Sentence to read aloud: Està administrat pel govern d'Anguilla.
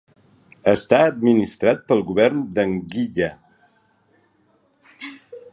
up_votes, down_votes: 2, 0